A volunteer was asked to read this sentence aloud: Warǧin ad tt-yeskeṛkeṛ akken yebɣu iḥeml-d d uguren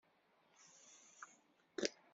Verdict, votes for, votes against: rejected, 0, 2